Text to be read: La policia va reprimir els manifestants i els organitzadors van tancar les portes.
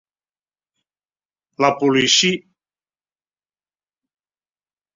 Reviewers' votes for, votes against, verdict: 0, 2, rejected